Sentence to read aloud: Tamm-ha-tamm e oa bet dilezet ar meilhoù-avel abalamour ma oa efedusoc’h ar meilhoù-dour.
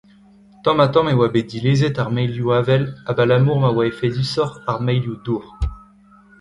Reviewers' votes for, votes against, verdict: 0, 2, rejected